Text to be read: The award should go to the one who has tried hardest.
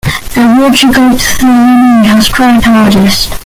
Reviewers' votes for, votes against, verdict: 0, 2, rejected